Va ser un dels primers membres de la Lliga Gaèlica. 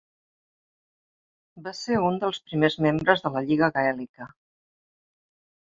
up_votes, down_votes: 3, 0